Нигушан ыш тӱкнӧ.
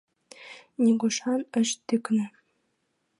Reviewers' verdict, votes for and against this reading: accepted, 2, 0